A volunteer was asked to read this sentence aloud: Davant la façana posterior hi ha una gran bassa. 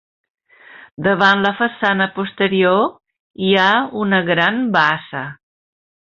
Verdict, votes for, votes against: accepted, 3, 1